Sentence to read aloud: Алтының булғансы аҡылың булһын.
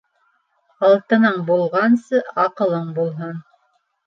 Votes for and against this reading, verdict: 2, 0, accepted